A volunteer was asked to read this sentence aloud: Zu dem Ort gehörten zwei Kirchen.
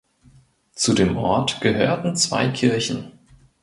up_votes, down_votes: 2, 0